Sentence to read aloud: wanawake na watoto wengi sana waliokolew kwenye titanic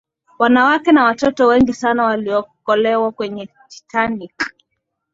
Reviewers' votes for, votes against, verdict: 2, 0, accepted